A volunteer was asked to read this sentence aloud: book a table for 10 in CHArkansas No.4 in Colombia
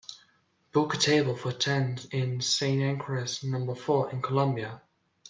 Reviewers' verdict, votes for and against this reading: rejected, 0, 2